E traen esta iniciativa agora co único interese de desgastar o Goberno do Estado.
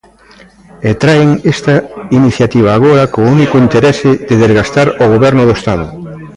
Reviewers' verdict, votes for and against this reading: accepted, 2, 0